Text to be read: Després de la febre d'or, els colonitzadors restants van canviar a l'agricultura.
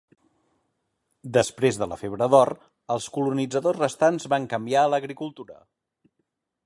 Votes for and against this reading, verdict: 2, 0, accepted